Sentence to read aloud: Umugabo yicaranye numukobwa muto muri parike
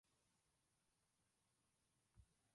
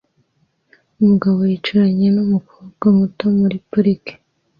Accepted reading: second